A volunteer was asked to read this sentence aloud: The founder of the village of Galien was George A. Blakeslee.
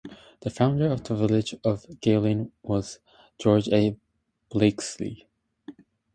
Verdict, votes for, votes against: rejected, 0, 2